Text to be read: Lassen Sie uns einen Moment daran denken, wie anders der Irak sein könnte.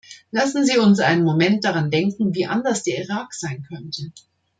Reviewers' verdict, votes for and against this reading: accepted, 2, 0